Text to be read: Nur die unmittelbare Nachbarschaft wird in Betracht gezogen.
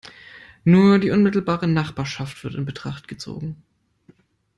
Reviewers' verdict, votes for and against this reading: accepted, 2, 0